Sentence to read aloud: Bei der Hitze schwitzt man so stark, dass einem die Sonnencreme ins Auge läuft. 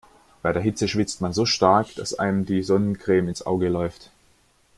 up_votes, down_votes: 2, 0